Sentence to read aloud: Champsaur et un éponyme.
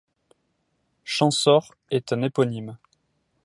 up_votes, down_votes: 2, 1